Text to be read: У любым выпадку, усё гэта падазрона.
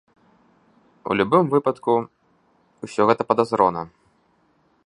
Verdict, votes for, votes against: accepted, 2, 0